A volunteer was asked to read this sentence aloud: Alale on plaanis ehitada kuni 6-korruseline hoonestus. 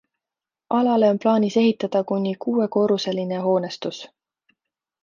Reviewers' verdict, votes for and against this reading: rejected, 0, 2